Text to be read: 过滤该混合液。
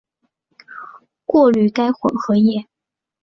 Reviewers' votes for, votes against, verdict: 3, 1, accepted